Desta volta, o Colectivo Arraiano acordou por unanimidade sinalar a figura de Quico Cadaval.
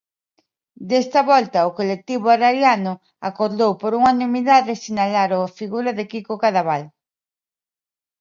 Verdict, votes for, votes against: rejected, 0, 3